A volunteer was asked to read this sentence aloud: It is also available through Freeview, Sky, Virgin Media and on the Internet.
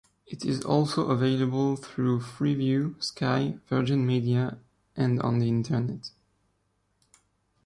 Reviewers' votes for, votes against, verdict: 2, 0, accepted